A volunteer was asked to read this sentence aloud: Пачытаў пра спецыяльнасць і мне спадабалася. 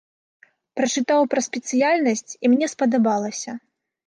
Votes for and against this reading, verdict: 1, 2, rejected